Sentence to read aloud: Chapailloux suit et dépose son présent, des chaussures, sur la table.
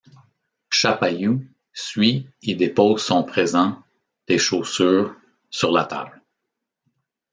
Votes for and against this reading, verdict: 2, 0, accepted